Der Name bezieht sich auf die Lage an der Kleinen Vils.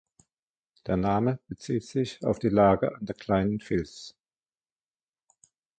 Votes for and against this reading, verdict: 1, 2, rejected